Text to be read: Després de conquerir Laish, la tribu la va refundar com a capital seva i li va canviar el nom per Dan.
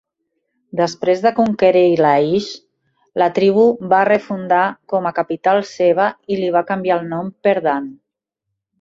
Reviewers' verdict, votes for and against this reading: rejected, 1, 2